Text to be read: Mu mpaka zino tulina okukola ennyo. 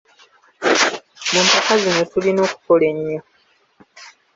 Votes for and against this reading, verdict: 3, 0, accepted